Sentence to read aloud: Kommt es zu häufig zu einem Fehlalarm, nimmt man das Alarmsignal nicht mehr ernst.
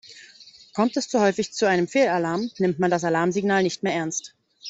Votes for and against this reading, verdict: 2, 0, accepted